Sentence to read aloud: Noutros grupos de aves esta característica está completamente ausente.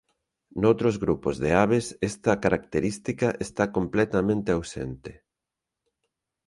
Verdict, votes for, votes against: accepted, 2, 0